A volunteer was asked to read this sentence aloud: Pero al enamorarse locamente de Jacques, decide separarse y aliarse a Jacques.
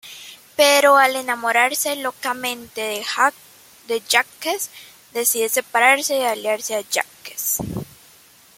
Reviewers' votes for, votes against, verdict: 2, 1, accepted